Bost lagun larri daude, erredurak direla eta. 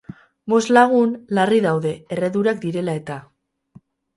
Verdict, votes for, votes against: rejected, 0, 2